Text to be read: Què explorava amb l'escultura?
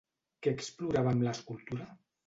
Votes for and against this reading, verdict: 2, 0, accepted